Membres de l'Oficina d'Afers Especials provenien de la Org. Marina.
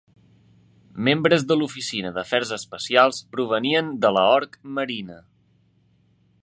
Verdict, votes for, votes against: rejected, 0, 2